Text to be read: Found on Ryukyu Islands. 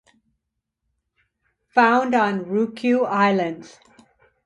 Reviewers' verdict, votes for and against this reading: accepted, 2, 0